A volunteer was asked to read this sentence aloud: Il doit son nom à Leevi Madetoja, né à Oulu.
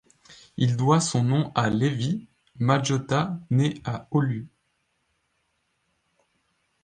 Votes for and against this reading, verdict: 1, 2, rejected